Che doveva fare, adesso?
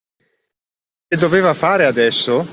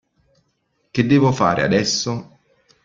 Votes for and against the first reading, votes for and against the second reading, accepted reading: 2, 1, 0, 2, first